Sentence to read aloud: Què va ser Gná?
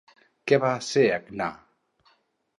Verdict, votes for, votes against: rejected, 2, 2